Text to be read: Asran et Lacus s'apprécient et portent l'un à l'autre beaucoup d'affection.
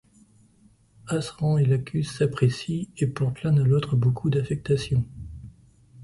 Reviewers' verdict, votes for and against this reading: rejected, 1, 2